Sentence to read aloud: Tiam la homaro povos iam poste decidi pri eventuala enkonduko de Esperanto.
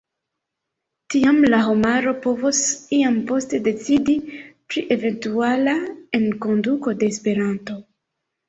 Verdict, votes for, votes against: accepted, 2, 0